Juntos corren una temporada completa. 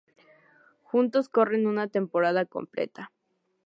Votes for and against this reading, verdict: 2, 0, accepted